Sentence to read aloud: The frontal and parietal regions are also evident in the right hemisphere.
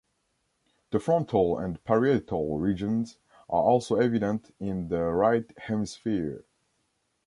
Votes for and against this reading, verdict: 2, 0, accepted